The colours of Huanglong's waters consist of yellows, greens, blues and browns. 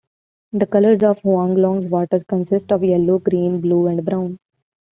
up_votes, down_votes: 2, 0